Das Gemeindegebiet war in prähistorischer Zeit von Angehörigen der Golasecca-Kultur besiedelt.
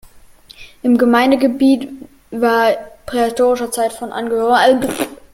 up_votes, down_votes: 0, 2